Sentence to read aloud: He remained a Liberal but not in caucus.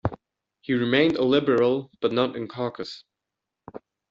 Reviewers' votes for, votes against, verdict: 2, 1, accepted